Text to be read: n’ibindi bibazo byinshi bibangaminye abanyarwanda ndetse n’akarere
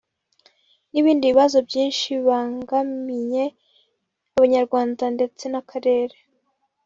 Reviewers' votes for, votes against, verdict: 0, 2, rejected